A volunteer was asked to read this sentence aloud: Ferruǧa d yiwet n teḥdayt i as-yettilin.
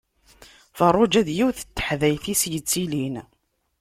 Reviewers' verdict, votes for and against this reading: accepted, 2, 0